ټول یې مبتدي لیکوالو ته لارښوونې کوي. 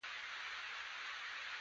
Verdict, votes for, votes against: rejected, 0, 2